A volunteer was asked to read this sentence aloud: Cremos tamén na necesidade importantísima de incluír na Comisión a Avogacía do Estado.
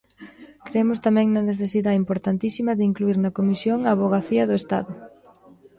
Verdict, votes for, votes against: rejected, 1, 2